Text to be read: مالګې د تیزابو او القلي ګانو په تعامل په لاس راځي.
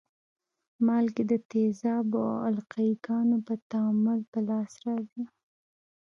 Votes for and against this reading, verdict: 1, 2, rejected